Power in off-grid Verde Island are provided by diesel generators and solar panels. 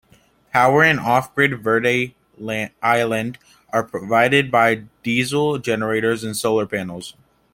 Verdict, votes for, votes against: rejected, 1, 2